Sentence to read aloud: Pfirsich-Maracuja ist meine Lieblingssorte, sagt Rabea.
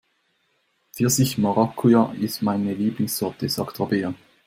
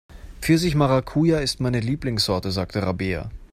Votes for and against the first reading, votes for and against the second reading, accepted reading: 2, 0, 1, 2, first